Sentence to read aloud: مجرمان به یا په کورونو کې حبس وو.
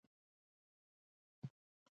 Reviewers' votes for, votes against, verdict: 0, 2, rejected